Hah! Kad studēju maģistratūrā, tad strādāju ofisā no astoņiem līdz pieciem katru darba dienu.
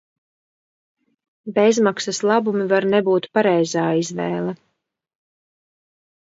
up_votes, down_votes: 0, 2